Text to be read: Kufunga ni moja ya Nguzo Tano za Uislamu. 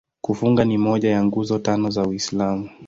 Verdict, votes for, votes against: accepted, 2, 0